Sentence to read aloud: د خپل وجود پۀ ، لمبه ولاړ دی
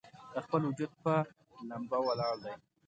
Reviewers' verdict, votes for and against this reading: rejected, 1, 2